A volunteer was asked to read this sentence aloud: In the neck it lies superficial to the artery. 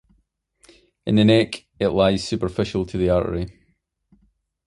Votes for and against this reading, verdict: 2, 0, accepted